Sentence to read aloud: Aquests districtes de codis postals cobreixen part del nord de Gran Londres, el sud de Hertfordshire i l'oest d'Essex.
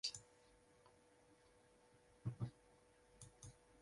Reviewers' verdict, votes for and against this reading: rejected, 1, 3